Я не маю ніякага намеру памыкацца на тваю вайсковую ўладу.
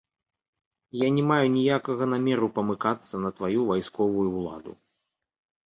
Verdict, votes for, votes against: accepted, 2, 0